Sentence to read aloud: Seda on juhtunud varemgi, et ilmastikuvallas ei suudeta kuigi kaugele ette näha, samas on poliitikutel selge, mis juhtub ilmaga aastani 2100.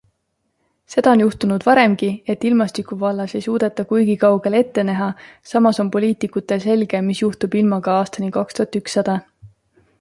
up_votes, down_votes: 0, 2